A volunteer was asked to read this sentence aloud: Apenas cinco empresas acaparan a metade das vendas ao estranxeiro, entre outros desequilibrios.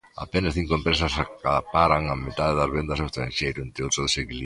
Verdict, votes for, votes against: rejected, 1, 2